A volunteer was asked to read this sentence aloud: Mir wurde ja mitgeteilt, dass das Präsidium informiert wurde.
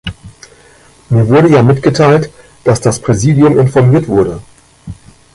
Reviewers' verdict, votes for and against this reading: rejected, 1, 2